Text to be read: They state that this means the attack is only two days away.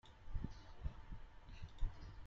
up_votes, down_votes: 0, 2